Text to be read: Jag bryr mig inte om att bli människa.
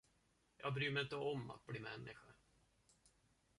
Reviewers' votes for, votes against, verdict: 1, 2, rejected